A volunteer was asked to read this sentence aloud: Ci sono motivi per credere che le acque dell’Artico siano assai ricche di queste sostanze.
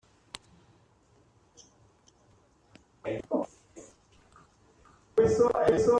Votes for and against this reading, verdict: 0, 2, rejected